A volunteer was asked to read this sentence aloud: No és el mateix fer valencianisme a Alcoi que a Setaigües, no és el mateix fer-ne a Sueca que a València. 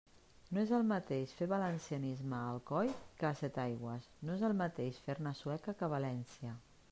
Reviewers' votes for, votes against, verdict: 2, 0, accepted